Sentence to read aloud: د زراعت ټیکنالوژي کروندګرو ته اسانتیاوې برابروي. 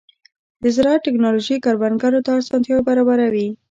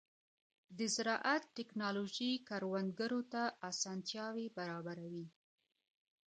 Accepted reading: second